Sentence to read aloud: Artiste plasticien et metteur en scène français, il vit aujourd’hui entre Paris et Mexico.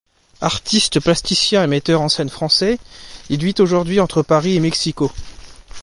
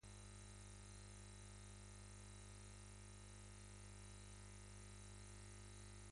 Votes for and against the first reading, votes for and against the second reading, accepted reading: 2, 0, 1, 2, first